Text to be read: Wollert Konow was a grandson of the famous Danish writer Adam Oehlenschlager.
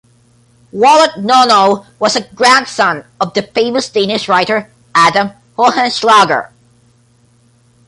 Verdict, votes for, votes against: rejected, 1, 2